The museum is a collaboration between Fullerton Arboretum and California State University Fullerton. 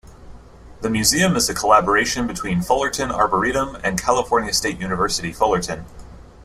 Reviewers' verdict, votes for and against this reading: accepted, 2, 0